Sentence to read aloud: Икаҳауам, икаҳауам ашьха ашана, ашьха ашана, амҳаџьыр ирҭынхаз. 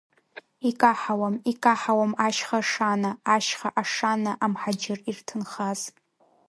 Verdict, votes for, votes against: accepted, 2, 0